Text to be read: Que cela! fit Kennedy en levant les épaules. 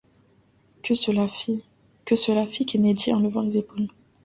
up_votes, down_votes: 0, 2